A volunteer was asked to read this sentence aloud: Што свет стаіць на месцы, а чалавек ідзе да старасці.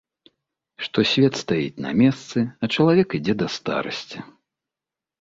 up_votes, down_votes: 2, 0